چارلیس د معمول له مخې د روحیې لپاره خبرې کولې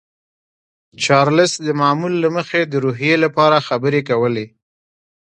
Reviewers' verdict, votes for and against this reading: accepted, 2, 0